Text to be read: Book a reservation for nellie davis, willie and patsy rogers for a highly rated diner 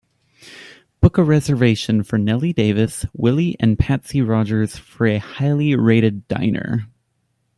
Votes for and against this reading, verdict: 2, 0, accepted